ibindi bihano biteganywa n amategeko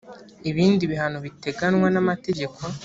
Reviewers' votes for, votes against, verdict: 2, 0, accepted